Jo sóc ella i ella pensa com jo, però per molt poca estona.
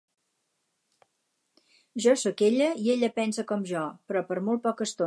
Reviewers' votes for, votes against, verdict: 2, 2, rejected